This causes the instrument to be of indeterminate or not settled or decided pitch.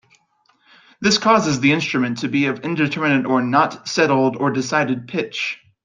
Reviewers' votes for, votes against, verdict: 2, 0, accepted